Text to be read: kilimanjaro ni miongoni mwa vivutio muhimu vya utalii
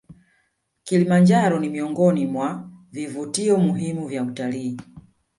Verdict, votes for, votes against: rejected, 1, 2